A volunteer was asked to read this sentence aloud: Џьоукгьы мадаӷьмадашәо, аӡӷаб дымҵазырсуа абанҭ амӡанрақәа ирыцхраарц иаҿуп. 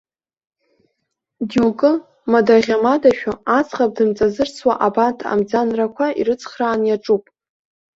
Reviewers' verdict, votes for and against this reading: rejected, 1, 2